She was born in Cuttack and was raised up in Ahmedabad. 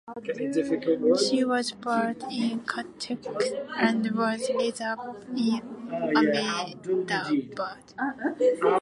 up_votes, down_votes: 2, 0